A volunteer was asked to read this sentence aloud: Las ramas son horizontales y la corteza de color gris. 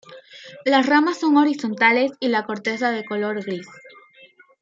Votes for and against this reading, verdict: 1, 2, rejected